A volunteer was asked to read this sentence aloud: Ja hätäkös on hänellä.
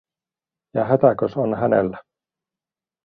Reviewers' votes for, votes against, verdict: 2, 0, accepted